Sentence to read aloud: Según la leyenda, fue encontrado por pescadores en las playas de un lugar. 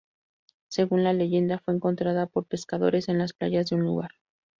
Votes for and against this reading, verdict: 0, 2, rejected